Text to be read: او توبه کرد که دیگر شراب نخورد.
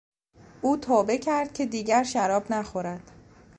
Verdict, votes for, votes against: accepted, 2, 0